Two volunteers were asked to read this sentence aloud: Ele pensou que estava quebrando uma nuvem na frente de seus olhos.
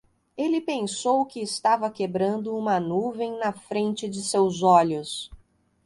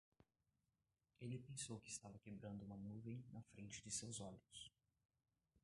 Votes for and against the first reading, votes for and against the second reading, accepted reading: 2, 0, 0, 2, first